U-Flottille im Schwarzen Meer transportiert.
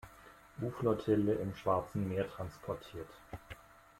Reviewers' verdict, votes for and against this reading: accepted, 2, 0